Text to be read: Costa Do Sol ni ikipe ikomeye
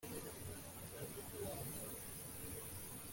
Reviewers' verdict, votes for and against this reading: rejected, 1, 2